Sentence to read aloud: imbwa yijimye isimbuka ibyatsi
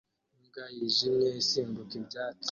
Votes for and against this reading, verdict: 2, 1, accepted